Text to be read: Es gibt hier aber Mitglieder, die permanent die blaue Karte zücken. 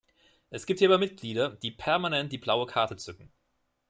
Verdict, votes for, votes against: accepted, 2, 0